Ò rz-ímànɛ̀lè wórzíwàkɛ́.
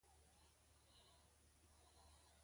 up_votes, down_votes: 2, 0